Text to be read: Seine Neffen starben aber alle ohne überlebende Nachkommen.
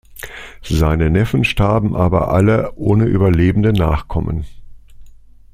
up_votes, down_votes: 2, 0